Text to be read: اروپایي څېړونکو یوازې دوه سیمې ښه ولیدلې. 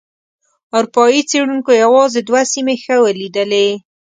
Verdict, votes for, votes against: accepted, 2, 0